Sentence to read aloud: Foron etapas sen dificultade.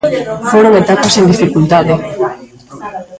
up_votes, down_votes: 0, 2